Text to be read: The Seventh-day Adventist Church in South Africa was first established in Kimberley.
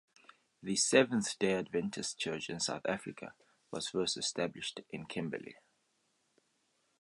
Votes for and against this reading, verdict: 2, 0, accepted